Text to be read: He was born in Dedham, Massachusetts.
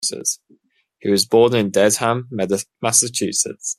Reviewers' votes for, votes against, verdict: 2, 1, accepted